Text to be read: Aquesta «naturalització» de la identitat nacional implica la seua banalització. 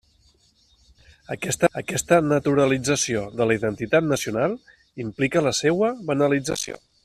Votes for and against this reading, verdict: 0, 2, rejected